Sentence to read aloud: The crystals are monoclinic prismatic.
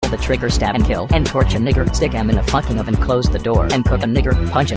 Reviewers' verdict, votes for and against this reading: rejected, 0, 2